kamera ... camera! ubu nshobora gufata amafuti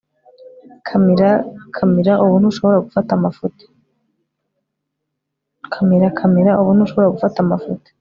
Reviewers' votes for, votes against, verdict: 1, 2, rejected